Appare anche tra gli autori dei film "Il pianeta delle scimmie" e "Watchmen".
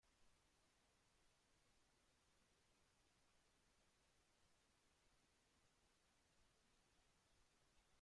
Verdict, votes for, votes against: rejected, 0, 2